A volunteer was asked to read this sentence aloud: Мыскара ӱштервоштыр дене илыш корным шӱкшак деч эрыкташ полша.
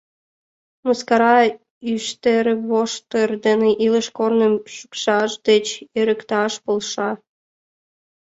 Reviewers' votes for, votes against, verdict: 2, 1, accepted